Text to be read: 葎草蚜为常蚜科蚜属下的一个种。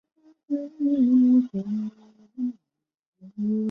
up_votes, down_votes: 0, 2